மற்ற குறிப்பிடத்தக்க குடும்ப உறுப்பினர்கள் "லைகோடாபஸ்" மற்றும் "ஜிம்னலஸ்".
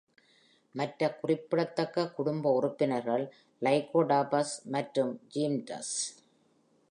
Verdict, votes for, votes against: accepted, 2, 1